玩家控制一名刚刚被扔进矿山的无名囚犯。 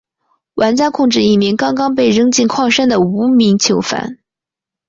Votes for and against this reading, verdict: 2, 0, accepted